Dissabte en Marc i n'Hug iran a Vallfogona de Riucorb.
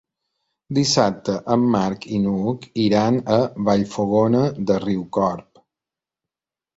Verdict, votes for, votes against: accepted, 3, 0